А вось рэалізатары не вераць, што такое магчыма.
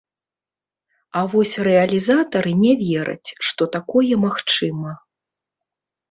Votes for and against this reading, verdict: 0, 2, rejected